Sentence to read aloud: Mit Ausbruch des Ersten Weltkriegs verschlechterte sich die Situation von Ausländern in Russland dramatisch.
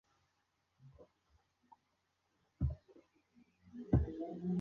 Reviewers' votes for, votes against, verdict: 0, 2, rejected